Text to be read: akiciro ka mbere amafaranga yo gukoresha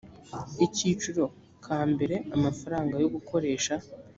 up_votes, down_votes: 1, 2